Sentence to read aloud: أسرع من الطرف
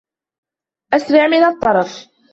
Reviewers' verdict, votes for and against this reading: accepted, 2, 0